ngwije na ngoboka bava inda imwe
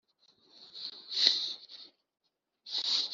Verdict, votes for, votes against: rejected, 0, 4